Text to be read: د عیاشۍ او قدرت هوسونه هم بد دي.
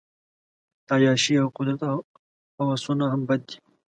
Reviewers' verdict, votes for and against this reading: rejected, 0, 2